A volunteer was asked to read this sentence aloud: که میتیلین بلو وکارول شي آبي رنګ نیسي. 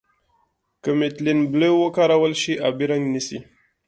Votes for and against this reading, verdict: 2, 0, accepted